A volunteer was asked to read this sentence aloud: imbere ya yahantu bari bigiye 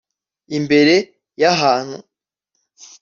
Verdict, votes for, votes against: rejected, 1, 2